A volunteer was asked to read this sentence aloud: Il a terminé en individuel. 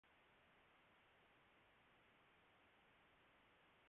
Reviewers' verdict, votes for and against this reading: rejected, 0, 2